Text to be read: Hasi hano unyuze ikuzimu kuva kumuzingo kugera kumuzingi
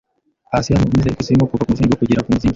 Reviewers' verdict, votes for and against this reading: rejected, 0, 2